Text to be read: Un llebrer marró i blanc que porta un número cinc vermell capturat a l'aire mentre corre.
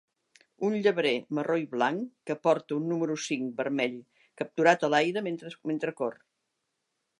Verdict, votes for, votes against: rejected, 0, 2